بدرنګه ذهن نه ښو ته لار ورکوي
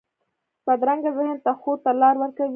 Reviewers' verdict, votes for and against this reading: rejected, 0, 2